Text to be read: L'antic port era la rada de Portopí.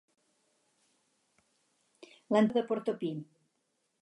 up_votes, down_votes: 2, 4